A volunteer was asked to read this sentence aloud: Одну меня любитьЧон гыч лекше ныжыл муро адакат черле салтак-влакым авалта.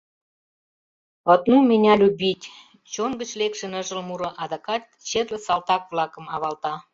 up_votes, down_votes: 0, 2